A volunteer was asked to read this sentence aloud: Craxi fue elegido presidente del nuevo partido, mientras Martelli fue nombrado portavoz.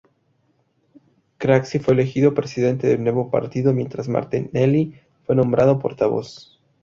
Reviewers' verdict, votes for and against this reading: rejected, 0, 2